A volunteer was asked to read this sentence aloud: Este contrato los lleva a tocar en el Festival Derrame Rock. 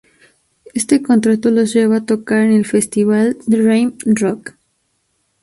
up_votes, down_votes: 0, 2